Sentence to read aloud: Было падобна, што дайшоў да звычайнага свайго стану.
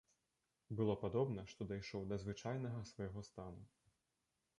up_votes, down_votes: 2, 0